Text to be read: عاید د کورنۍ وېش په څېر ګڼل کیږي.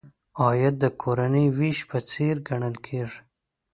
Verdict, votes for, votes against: accepted, 2, 0